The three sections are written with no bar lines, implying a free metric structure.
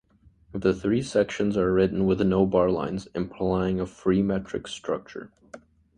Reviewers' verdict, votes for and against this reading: rejected, 1, 2